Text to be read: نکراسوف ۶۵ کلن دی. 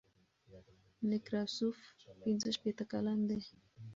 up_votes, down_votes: 0, 2